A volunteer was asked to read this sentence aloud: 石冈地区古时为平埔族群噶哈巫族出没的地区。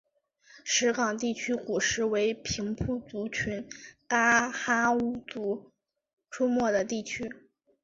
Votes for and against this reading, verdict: 6, 2, accepted